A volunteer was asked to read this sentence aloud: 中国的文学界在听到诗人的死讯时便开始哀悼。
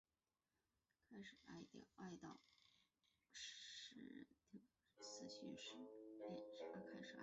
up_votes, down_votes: 0, 3